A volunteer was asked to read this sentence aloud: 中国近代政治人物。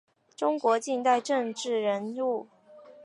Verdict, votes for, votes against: accepted, 2, 0